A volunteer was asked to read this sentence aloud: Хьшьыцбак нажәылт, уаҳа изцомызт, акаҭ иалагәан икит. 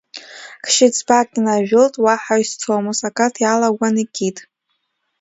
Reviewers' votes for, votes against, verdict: 2, 1, accepted